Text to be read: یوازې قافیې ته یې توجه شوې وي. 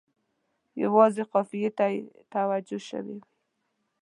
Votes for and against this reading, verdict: 1, 2, rejected